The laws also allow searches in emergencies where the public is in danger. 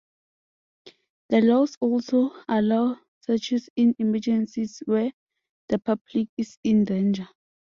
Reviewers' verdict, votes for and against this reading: accepted, 2, 0